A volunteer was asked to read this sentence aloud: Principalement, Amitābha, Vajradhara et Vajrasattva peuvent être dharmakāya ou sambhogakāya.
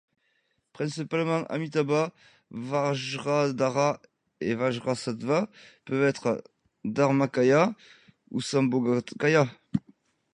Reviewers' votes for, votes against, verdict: 2, 0, accepted